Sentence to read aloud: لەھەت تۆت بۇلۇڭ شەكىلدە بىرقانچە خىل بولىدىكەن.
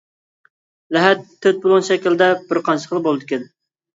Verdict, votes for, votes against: rejected, 0, 2